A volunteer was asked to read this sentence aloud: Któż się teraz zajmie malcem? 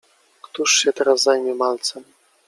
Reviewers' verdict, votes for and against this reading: accepted, 2, 0